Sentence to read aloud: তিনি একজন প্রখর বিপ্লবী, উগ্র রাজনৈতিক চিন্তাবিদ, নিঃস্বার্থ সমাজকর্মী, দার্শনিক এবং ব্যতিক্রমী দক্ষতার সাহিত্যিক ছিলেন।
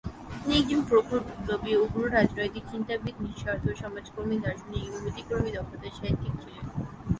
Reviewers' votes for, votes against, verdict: 0, 3, rejected